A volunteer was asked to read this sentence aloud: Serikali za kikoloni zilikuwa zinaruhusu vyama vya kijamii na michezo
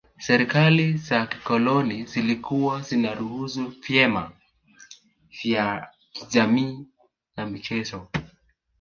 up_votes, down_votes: 3, 4